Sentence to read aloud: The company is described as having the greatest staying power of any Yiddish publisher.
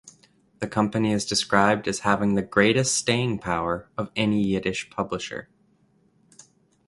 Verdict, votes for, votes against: accepted, 2, 0